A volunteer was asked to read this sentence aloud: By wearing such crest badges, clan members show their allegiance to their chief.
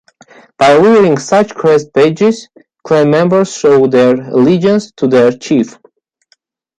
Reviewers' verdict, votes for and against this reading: rejected, 0, 2